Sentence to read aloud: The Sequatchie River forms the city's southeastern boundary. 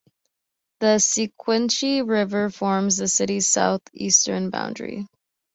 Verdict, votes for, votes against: rejected, 2, 3